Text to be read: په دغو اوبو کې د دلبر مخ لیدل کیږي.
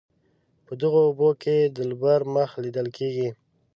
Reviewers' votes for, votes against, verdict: 6, 0, accepted